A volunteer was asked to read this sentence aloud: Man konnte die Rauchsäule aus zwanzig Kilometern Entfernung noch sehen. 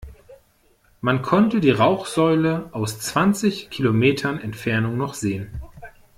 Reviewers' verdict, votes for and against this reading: accepted, 2, 0